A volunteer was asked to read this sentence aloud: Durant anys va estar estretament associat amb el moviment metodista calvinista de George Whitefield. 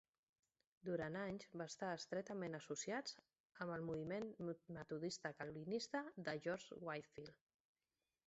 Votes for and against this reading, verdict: 0, 2, rejected